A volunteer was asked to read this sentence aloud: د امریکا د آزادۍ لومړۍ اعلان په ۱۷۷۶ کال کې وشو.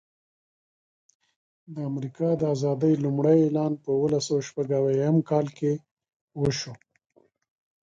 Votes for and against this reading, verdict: 0, 2, rejected